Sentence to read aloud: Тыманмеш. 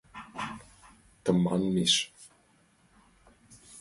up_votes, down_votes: 2, 0